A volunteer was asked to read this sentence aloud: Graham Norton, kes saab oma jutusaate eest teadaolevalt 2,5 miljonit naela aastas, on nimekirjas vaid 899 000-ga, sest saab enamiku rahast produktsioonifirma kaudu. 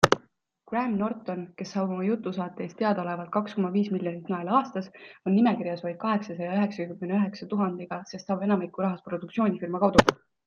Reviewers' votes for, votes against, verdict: 0, 2, rejected